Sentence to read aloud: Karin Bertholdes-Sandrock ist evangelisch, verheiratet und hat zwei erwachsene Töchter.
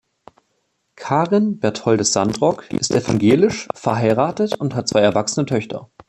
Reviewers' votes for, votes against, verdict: 0, 2, rejected